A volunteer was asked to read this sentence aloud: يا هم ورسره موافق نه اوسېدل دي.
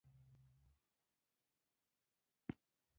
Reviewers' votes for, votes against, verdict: 0, 2, rejected